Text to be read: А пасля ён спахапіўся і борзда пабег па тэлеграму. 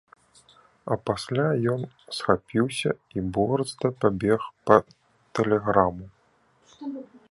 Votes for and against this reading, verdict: 0, 3, rejected